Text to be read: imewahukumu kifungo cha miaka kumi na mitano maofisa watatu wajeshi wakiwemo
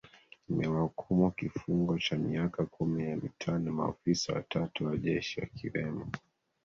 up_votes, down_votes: 2, 1